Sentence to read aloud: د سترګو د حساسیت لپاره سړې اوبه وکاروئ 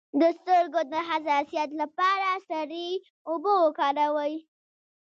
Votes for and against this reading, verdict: 1, 2, rejected